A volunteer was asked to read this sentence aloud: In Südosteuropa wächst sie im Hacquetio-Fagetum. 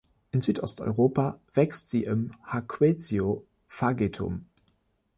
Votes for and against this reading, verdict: 2, 0, accepted